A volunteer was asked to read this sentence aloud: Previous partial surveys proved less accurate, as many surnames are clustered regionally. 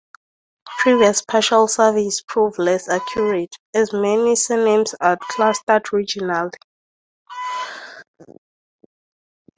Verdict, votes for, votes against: rejected, 0, 4